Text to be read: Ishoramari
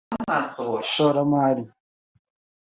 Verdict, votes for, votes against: accepted, 2, 0